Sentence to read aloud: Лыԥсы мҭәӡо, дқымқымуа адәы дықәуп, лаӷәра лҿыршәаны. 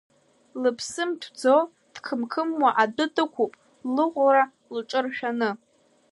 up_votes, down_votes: 1, 2